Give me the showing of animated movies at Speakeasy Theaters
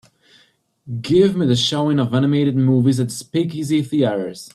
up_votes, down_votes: 2, 0